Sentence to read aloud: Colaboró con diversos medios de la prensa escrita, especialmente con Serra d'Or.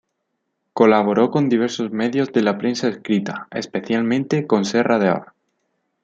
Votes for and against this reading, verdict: 2, 0, accepted